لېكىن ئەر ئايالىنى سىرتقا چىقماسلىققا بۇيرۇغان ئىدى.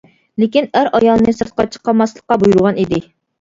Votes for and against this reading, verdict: 1, 2, rejected